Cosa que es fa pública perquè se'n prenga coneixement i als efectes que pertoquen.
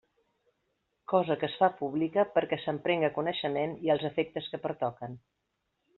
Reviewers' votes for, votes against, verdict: 2, 0, accepted